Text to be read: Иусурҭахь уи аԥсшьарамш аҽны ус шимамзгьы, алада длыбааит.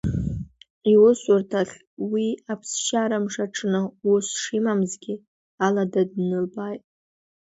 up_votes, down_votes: 2, 1